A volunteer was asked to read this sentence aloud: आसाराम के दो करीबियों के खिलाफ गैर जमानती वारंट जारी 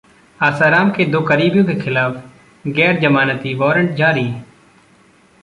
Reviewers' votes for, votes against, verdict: 2, 0, accepted